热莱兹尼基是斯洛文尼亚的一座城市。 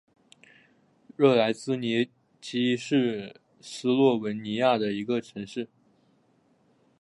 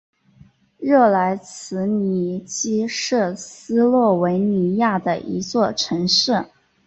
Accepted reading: second